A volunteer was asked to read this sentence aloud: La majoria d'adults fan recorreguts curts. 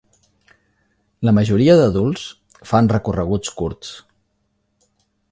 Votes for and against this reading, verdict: 4, 0, accepted